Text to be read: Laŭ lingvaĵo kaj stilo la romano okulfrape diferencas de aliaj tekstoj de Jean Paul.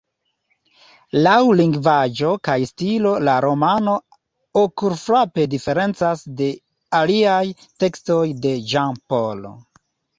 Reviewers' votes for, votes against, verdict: 2, 0, accepted